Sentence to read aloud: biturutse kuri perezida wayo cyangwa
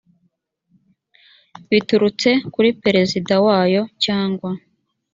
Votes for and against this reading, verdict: 2, 0, accepted